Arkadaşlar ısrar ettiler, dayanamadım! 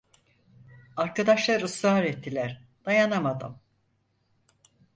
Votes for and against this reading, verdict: 4, 0, accepted